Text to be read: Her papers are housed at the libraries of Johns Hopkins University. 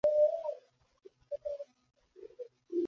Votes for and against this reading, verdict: 0, 2, rejected